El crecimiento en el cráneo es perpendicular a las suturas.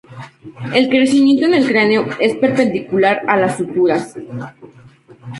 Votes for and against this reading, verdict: 2, 0, accepted